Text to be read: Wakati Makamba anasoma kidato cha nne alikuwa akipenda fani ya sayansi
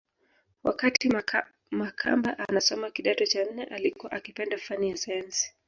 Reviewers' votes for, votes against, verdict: 1, 2, rejected